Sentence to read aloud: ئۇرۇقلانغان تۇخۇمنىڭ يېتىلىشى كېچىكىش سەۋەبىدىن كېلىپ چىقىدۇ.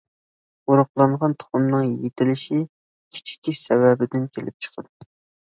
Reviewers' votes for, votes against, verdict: 0, 2, rejected